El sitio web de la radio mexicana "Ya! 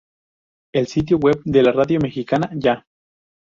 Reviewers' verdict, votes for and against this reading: rejected, 0, 2